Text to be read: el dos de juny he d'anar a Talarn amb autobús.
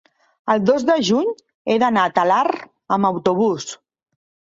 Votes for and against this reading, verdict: 2, 1, accepted